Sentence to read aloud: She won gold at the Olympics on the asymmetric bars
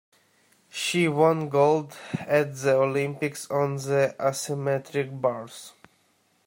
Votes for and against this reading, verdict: 2, 1, accepted